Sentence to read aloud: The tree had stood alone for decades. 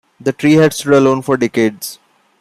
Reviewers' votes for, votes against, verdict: 1, 2, rejected